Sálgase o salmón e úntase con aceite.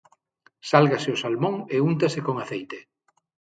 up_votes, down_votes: 6, 0